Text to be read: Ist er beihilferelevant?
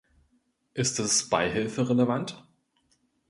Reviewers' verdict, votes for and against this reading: rejected, 0, 2